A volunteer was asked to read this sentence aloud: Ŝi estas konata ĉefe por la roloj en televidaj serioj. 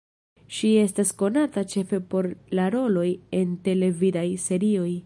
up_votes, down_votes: 2, 0